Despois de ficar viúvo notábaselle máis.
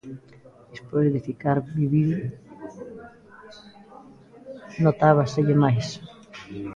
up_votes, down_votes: 0, 2